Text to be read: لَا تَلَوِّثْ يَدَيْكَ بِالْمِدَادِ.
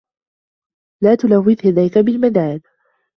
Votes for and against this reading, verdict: 2, 1, accepted